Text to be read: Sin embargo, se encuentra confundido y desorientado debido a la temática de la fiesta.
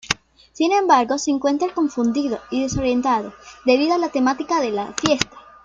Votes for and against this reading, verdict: 2, 0, accepted